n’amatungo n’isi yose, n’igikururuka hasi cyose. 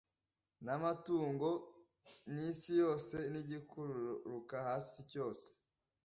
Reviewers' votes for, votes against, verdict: 2, 0, accepted